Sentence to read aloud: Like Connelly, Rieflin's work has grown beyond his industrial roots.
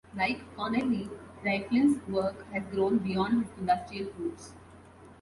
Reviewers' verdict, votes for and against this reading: rejected, 1, 2